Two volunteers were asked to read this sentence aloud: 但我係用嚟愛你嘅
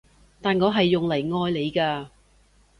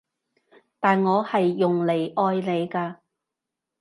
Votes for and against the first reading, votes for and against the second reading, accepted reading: 2, 0, 0, 2, first